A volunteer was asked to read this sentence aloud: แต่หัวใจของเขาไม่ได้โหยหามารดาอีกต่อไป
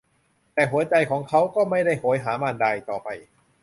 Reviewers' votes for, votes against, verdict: 0, 2, rejected